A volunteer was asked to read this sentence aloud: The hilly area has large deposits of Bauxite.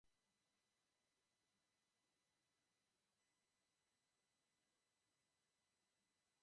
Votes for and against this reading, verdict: 0, 2, rejected